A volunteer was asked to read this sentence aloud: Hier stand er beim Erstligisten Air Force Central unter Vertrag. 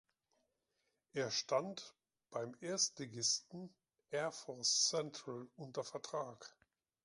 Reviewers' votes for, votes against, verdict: 0, 2, rejected